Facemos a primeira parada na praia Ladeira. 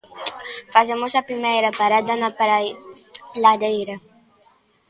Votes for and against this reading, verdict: 0, 2, rejected